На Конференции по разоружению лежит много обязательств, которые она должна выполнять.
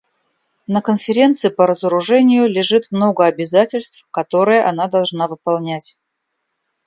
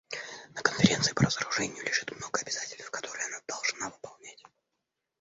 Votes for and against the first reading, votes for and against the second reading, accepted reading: 2, 0, 1, 2, first